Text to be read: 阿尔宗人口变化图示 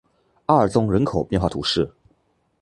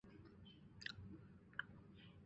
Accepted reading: first